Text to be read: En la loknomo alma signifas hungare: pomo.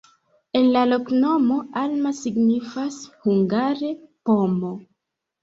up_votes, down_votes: 2, 0